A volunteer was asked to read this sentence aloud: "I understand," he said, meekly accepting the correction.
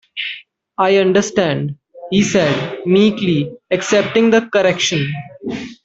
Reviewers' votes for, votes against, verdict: 2, 1, accepted